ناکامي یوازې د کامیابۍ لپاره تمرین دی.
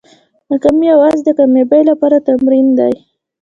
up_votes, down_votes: 1, 2